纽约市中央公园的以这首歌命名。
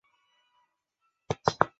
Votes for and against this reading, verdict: 4, 2, accepted